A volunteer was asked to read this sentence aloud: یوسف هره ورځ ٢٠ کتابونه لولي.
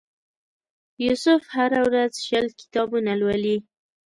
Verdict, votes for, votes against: rejected, 0, 2